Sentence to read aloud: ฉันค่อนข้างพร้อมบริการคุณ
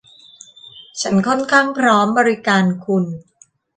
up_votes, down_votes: 2, 0